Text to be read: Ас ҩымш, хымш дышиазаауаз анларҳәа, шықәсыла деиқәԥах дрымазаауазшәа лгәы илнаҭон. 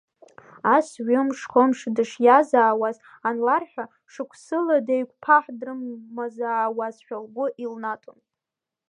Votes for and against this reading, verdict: 1, 2, rejected